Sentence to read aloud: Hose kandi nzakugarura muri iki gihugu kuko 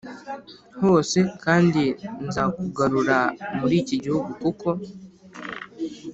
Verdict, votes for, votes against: accepted, 3, 0